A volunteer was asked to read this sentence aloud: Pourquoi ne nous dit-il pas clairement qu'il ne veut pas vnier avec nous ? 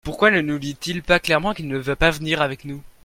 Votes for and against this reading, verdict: 2, 0, accepted